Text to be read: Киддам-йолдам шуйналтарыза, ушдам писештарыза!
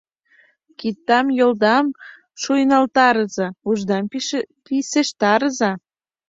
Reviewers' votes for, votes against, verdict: 0, 2, rejected